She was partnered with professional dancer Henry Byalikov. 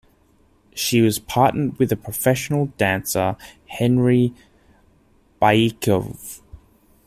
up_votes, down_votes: 0, 2